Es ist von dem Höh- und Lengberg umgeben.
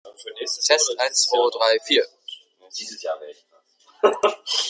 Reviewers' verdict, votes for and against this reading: rejected, 0, 2